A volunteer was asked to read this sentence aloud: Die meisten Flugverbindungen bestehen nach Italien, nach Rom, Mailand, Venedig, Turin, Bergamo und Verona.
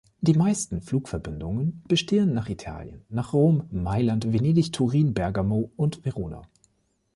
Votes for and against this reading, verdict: 2, 0, accepted